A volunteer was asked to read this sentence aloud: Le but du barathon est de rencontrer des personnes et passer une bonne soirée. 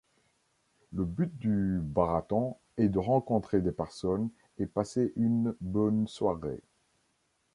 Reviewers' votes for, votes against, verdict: 2, 0, accepted